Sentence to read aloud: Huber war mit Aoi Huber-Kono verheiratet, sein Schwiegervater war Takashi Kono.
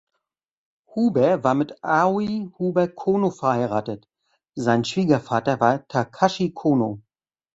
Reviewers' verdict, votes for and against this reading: accepted, 2, 0